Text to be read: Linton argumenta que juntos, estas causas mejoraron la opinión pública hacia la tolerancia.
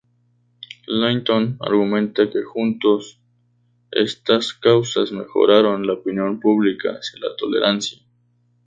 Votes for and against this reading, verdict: 4, 2, accepted